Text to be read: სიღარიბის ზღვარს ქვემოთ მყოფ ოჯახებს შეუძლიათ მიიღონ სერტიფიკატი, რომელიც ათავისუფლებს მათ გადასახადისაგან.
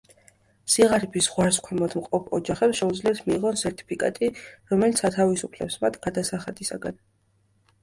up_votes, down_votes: 2, 0